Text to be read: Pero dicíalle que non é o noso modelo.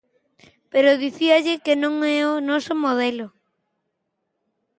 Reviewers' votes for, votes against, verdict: 2, 0, accepted